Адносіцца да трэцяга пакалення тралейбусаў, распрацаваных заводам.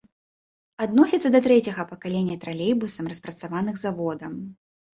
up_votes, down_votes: 0, 2